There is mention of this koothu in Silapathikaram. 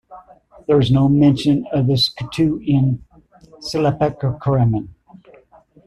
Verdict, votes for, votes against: rejected, 1, 2